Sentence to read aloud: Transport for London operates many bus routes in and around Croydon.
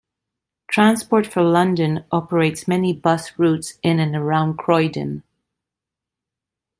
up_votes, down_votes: 2, 0